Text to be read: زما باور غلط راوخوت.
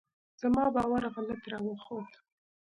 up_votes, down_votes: 2, 0